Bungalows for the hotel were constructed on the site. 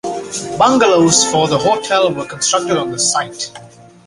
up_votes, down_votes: 2, 0